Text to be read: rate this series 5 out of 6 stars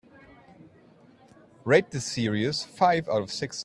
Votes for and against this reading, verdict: 0, 2, rejected